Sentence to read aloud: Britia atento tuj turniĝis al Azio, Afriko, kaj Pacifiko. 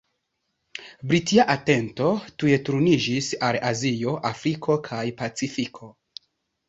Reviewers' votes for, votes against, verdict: 2, 0, accepted